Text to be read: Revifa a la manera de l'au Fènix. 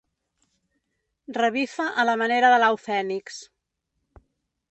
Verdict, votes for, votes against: accepted, 3, 0